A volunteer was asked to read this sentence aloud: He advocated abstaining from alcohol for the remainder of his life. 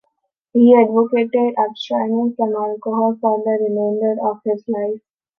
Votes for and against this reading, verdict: 1, 2, rejected